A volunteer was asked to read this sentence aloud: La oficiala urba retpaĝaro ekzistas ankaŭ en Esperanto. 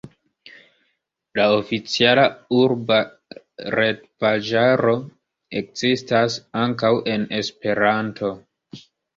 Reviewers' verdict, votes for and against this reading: accepted, 2, 0